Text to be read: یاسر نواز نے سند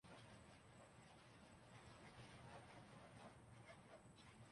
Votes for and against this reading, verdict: 0, 2, rejected